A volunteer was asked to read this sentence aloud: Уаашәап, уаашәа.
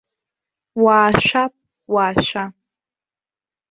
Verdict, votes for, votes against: rejected, 1, 2